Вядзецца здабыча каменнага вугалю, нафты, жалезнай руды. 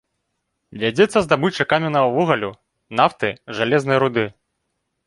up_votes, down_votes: 0, 2